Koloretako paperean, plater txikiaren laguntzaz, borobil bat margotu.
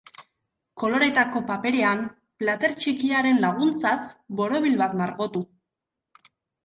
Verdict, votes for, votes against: accepted, 3, 0